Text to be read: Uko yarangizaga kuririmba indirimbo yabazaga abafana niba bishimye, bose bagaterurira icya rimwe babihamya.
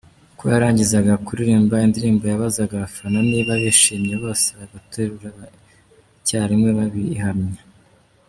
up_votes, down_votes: 1, 2